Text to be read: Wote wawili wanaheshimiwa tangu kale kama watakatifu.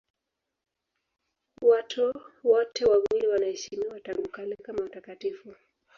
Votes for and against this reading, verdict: 0, 2, rejected